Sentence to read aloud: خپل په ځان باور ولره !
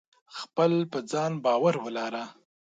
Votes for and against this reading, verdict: 2, 0, accepted